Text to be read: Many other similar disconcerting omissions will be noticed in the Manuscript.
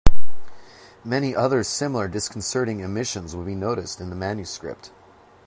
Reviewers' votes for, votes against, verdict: 2, 0, accepted